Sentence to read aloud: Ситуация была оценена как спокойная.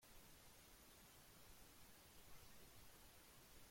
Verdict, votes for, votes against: rejected, 0, 2